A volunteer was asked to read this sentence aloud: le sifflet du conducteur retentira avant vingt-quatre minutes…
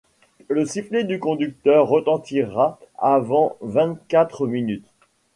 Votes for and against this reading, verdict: 2, 0, accepted